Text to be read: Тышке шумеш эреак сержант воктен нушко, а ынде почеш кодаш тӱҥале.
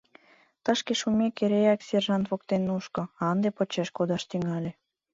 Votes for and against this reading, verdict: 1, 2, rejected